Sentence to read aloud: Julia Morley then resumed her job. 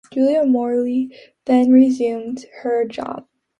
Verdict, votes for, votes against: accepted, 2, 1